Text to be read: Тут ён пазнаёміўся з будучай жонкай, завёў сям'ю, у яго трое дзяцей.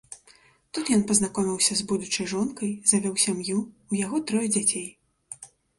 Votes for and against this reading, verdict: 0, 2, rejected